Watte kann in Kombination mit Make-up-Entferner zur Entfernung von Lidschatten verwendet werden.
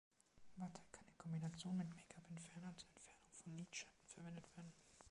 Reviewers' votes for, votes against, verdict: 2, 0, accepted